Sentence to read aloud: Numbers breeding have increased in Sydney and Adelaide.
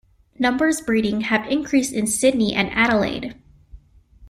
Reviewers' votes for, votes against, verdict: 2, 0, accepted